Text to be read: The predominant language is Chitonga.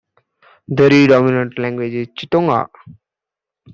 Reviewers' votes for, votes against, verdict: 0, 2, rejected